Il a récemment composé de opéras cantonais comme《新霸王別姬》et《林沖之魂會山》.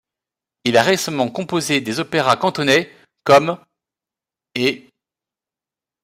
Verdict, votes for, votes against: rejected, 0, 2